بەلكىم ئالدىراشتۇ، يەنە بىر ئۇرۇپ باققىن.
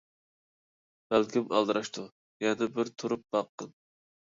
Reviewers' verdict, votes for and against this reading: rejected, 0, 2